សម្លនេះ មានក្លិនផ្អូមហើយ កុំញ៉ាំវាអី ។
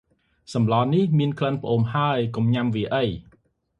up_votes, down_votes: 2, 0